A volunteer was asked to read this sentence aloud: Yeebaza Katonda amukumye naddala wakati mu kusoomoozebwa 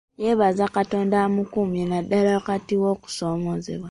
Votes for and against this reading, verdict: 1, 2, rejected